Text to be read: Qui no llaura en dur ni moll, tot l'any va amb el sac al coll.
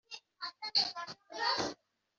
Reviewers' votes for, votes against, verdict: 0, 2, rejected